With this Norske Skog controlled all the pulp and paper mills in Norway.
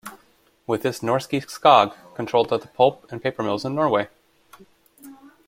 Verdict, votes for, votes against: rejected, 1, 2